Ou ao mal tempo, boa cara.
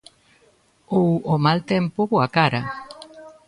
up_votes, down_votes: 1, 2